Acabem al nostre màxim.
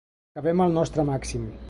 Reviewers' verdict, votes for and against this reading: rejected, 0, 2